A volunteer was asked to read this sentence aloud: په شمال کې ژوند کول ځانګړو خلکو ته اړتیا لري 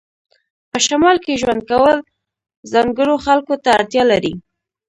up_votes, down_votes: 1, 2